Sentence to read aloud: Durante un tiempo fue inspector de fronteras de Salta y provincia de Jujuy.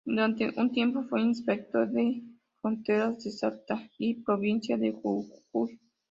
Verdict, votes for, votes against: rejected, 0, 2